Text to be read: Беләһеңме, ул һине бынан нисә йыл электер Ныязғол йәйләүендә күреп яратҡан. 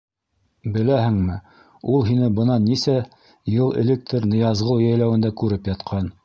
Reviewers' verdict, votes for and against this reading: rejected, 1, 2